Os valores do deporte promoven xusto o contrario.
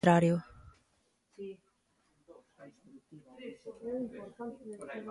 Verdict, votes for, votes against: rejected, 0, 2